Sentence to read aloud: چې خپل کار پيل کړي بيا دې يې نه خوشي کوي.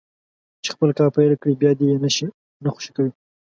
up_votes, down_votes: 2, 0